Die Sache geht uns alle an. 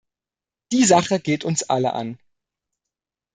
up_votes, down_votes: 2, 0